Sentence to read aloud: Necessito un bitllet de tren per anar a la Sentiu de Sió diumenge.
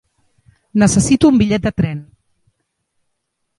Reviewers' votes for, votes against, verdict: 1, 2, rejected